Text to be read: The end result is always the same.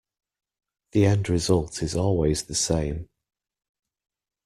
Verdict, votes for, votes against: accepted, 2, 0